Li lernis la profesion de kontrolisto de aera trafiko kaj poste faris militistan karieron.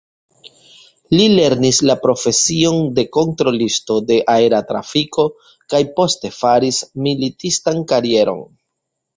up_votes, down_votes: 2, 0